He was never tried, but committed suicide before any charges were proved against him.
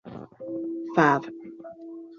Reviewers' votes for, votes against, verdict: 0, 2, rejected